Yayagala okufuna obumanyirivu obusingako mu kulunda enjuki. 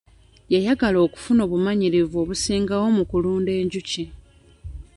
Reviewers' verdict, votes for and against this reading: accepted, 2, 1